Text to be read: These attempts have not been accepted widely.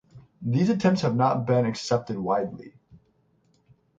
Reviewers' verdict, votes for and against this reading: accepted, 6, 0